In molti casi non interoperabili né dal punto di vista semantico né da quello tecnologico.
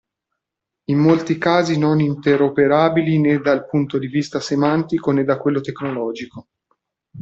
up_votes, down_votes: 2, 1